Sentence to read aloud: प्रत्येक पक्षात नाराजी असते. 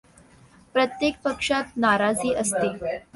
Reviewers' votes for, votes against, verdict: 2, 0, accepted